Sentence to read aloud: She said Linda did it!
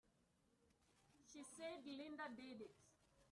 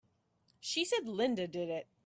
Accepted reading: second